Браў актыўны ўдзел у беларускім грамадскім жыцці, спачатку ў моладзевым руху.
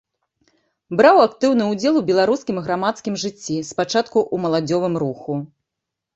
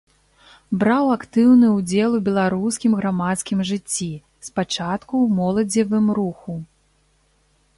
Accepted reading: second